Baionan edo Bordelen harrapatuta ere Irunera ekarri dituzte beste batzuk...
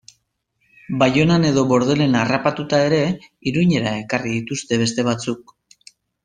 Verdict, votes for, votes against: accepted, 2, 1